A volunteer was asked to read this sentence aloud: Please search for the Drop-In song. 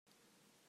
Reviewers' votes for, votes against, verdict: 0, 2, rejected